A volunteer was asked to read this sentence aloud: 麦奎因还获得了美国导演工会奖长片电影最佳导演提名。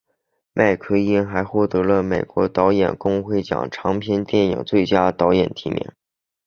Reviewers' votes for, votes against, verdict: 3, 1, accepted